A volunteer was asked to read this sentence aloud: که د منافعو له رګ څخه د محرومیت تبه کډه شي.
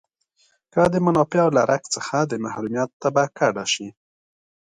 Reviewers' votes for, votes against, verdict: 1, 2, rejected